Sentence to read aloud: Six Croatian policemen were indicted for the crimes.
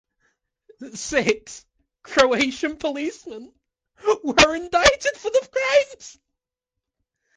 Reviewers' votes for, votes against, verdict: 2, 0, accepted